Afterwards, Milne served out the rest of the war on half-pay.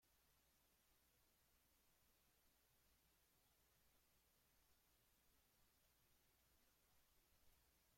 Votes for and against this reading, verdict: 0, 2, rejected